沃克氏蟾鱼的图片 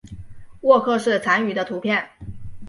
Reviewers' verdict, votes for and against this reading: accepted, 4, 0